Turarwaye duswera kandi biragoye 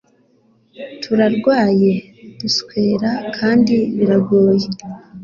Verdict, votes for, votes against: accepted, 3, 0